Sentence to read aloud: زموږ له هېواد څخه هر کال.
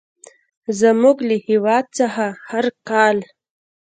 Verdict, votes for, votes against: rejected, 0, 2